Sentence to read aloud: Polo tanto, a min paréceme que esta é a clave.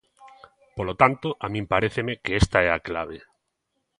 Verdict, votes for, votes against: accepted, 2, 0